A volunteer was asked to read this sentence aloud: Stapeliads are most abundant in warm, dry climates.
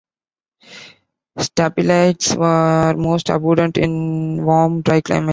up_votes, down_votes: 2, 1